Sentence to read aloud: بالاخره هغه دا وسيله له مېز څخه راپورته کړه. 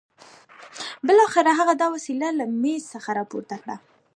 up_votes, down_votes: 2, 0